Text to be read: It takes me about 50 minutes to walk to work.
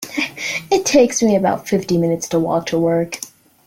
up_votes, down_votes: 0, 2